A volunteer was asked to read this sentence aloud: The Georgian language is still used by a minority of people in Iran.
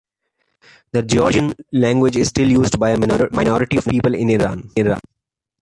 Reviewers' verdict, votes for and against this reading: rejected, 0, 2